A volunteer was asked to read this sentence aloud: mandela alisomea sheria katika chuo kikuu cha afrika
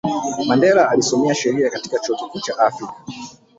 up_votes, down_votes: 1, 2